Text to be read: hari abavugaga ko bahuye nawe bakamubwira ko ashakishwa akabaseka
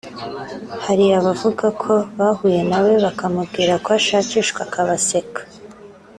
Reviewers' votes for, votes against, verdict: 0, 2, rejected